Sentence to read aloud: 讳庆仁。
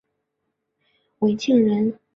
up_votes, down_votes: 5, 2